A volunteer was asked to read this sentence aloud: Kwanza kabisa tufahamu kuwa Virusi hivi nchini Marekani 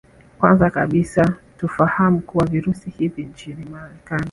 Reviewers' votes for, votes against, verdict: 1, 2, rejected